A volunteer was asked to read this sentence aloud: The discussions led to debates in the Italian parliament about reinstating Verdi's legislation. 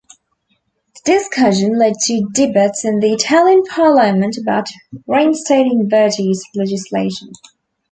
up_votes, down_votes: 0, 2